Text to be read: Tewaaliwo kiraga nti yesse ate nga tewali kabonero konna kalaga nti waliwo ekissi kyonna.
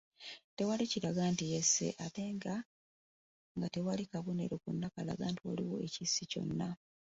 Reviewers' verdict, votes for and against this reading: rejected, 1, 2